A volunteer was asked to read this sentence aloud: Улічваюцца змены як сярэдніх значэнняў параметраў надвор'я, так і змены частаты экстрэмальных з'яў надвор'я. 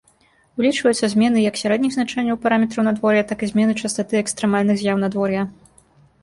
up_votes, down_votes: 1, 2